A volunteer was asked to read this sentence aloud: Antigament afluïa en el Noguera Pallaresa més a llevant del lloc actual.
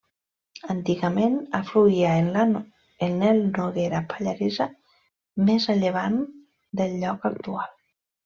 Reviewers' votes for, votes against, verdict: 1, 2, rejected